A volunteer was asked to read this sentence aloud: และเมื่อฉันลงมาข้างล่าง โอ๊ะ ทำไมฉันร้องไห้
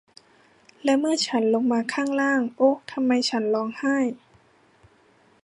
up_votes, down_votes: 2, 1